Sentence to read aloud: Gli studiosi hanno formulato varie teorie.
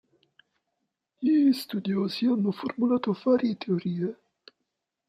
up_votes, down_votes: 1, 2